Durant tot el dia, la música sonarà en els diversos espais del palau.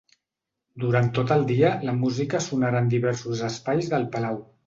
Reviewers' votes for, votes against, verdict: 0, 3, rejected